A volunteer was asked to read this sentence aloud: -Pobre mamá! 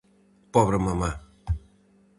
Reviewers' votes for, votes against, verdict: 4, 0, accepted